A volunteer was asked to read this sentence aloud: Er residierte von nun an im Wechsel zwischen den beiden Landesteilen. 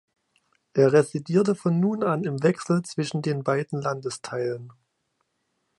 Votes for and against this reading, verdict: 2, 0, accepted